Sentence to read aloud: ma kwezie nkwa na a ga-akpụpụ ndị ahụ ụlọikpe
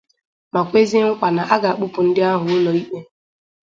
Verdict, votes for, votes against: accepted, 4, 0